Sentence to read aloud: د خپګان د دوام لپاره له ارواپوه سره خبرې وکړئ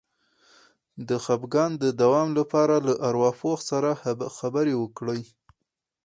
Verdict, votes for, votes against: accepted, 4, 0